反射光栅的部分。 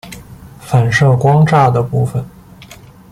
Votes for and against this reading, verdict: 0, 2, rejected